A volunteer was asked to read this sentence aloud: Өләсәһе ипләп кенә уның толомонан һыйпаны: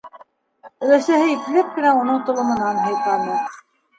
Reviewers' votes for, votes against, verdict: 0, 2, rejected